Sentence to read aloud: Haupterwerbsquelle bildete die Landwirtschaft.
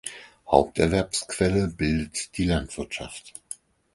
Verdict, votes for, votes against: rejected, 0, 4